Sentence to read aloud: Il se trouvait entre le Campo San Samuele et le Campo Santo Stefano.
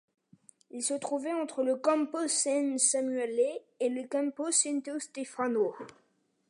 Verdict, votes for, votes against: accepted, 2, 0